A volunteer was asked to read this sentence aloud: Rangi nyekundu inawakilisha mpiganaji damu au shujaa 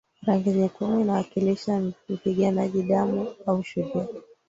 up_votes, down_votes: 5, 0